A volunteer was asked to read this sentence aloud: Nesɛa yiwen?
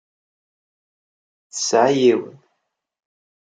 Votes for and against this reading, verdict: 0, 2, rejected